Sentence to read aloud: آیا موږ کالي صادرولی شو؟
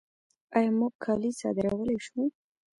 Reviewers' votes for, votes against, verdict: 0, 2, rejected